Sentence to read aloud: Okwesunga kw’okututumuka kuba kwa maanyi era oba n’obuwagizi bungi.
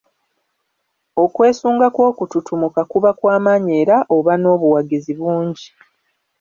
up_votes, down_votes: 2, 1